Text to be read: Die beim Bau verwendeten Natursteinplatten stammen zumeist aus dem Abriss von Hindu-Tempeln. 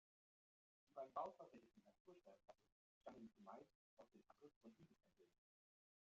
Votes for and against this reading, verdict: 0, 2, rejected